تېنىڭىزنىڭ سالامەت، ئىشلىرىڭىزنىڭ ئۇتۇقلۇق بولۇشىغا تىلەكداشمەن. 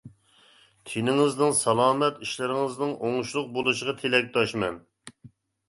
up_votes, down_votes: 1, 2